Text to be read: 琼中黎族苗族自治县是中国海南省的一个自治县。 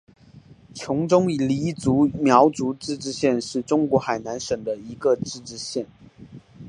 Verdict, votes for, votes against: accepted, 4, 0